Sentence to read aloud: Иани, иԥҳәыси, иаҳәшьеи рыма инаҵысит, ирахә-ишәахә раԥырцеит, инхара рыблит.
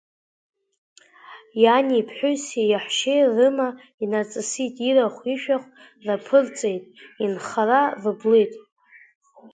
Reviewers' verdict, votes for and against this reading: accepted, 2, 0